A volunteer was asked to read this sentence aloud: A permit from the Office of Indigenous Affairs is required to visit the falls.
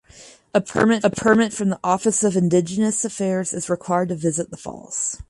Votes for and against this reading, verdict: 0, 4, rejected